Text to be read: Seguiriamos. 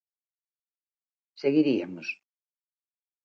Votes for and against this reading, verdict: 0, 4, rejected